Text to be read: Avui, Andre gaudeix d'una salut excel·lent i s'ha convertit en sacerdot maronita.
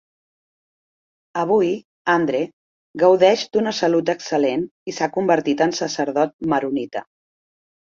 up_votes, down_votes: 3, 0